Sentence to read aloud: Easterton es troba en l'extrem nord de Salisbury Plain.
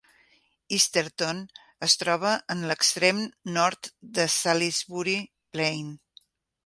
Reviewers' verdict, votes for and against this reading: accepted, 4, 0